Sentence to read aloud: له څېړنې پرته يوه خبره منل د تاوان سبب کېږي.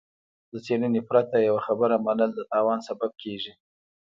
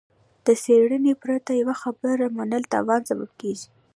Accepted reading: second